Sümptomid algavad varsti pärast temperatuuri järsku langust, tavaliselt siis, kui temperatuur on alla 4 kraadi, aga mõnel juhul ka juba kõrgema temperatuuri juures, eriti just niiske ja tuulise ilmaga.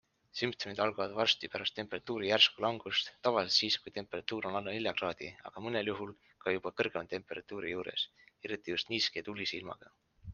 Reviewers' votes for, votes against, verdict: 0, 2, rejected